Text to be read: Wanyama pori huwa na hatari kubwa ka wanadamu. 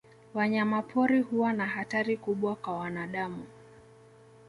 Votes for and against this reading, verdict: 2, 0, accepted